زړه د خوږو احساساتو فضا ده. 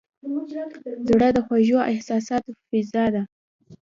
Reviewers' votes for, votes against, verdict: 2, 0, accepted